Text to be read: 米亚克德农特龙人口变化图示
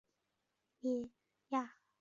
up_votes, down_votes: 0, 2